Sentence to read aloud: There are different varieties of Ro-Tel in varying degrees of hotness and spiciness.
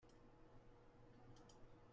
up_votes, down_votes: 0, 2